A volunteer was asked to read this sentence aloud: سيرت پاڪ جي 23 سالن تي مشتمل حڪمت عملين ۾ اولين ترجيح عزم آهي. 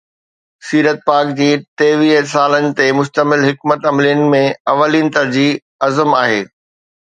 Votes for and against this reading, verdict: 0, 2, rejected